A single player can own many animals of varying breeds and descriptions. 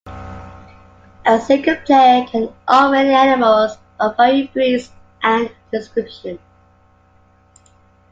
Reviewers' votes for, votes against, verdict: 2, 1, accepted